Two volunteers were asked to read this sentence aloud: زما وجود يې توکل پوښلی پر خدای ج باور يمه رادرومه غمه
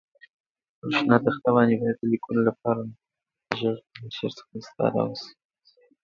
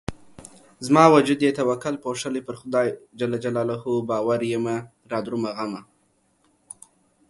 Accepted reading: second